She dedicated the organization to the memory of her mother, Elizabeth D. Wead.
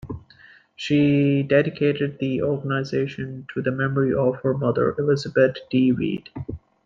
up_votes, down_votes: 2, 0